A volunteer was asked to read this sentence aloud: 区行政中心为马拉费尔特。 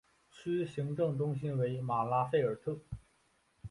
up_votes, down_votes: 2, 0